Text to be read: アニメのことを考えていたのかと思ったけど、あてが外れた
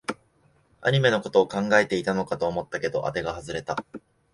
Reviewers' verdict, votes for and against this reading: accepted, 2, 0